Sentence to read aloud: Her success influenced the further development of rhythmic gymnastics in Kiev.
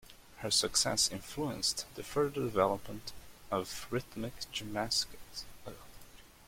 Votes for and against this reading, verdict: 0, 2, rejected